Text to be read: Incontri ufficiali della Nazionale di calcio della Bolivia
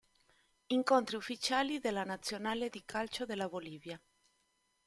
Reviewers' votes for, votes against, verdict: 2, 0, accepted